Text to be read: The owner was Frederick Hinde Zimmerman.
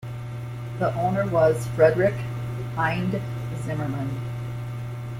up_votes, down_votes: 2, 0